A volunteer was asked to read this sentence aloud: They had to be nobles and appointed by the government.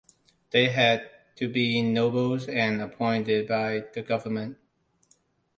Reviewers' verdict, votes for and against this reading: accepted, 2, 0